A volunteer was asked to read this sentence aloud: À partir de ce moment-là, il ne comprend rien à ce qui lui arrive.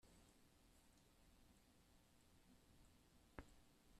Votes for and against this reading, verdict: 0, 2, rejected